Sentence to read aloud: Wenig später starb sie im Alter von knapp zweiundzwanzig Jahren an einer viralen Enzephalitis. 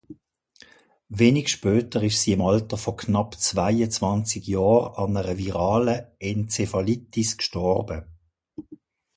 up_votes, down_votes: 1, 2